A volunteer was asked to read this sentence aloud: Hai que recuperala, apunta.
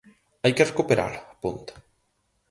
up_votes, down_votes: 0, 4